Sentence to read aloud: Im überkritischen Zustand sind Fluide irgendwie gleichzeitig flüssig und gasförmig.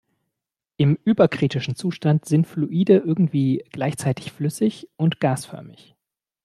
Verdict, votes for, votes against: accepted, 2, 0